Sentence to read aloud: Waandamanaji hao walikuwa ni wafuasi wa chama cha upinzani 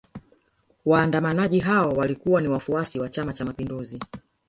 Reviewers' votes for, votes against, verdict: 0, 2, rejected